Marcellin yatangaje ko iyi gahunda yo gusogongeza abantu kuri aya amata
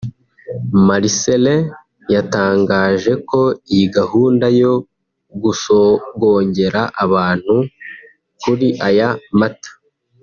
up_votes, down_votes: 3, 4